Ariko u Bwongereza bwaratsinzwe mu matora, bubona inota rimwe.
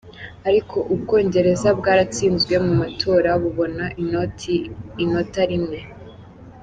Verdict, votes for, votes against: accepted, 2, 1